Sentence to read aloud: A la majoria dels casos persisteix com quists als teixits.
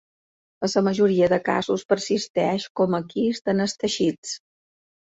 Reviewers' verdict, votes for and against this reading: accepted, 2, 1